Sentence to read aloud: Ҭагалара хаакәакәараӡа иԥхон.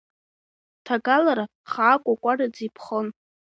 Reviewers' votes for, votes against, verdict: 2, 1, accepted